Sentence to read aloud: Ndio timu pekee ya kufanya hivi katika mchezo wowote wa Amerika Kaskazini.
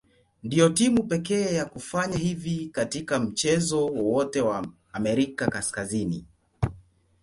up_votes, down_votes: 2, 0